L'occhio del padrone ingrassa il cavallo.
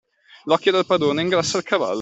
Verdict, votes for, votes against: accepted, 2, 0